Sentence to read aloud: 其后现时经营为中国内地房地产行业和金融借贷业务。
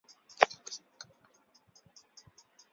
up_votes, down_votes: 0, 2